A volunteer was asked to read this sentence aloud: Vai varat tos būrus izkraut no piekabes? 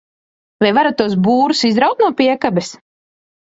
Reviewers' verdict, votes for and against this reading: rejected, 1, 2